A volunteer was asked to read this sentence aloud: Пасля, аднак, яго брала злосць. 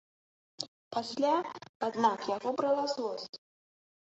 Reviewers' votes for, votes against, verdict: 1, 2, rejected